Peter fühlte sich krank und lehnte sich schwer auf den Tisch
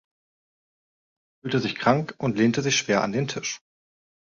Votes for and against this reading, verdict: 0, 3, rejected